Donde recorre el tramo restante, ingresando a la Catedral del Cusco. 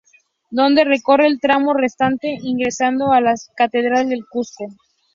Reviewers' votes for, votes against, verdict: 2, 0, accepted